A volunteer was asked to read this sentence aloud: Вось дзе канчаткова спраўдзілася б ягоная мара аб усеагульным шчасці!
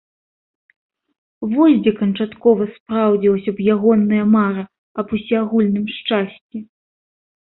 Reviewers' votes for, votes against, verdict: 2, 1, accepted